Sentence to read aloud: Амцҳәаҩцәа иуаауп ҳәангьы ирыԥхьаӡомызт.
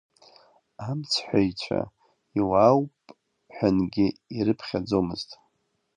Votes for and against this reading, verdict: 1, 2, rejected